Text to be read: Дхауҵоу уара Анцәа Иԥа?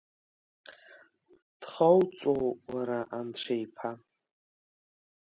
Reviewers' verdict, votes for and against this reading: rejected, 0, 2